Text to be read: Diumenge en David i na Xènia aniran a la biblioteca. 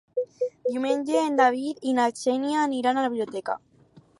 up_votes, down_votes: 4, 2